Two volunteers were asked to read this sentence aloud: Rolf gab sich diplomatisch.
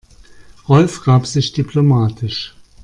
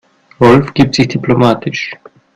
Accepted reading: first